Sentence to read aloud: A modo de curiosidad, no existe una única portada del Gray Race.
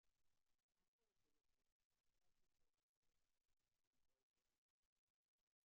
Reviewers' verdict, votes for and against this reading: rejected, 0, 2